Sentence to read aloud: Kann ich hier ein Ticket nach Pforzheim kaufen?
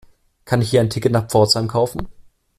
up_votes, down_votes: 2, 0